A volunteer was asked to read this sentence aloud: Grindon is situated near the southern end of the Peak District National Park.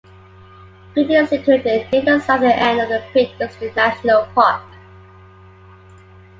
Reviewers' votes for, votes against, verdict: 2, 1, accepted